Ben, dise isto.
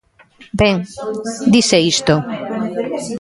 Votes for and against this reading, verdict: 1, 2, rejected